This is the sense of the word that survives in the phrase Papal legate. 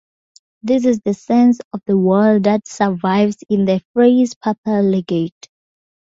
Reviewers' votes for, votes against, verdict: 2, 2, rejected